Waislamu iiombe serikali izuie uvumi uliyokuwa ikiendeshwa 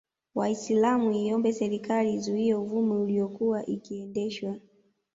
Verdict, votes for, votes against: accepted, 2, 0